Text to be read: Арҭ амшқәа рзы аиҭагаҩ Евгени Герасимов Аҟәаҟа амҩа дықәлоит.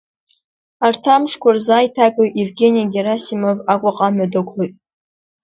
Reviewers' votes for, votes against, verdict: 3, 0, accepted